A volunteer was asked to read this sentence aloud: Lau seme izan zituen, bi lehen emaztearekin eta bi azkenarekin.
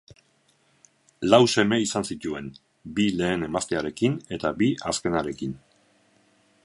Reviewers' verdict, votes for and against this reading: accepted, 4, 2